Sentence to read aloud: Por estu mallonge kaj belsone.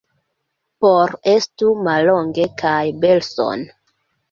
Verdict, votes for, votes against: rejected, 1, 2